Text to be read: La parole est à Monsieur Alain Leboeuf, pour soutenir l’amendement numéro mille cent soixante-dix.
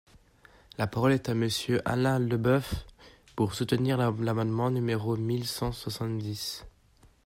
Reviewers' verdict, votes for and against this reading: rejected, 1, 2